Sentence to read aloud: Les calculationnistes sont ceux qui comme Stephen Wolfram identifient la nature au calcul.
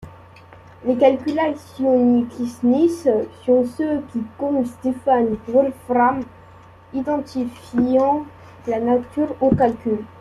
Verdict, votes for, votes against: rejected, 0, 2